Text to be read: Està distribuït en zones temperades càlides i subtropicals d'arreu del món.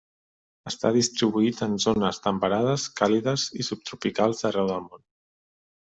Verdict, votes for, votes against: accepted, 2, 0